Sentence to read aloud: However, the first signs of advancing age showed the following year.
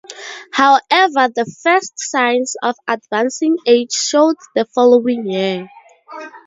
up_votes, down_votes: 2, 0